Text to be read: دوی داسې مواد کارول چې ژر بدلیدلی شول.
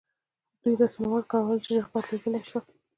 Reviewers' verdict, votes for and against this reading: accepted, 2, 0